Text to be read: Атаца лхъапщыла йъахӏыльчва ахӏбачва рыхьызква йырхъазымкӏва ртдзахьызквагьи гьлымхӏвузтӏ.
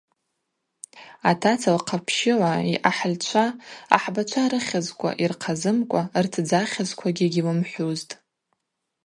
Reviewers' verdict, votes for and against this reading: accepted, 2, 0